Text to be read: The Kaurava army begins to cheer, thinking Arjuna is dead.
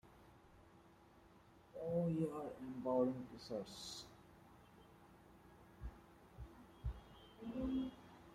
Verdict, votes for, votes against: rejected, 0, 2